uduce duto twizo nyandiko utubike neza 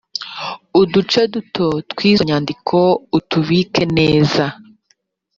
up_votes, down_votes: 3, 0